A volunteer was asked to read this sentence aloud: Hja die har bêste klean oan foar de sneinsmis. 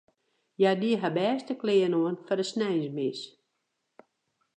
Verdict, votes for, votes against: accepted, 2, 0